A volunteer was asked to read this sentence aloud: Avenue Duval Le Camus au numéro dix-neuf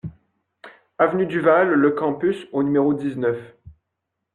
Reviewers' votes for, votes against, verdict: 1, 2, rejected